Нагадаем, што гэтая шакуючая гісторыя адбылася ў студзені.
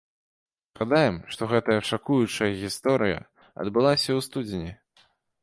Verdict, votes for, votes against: accepted, 2, 1